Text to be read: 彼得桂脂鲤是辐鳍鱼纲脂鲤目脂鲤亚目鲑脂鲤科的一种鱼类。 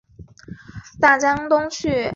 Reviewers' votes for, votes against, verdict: 0, 2, rejected